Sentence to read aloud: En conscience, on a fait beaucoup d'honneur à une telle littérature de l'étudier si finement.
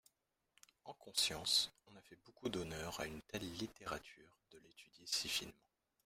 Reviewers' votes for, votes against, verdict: 0, 2, rejected